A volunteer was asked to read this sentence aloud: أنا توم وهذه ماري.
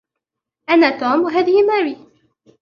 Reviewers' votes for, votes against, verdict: 0, 2, rejected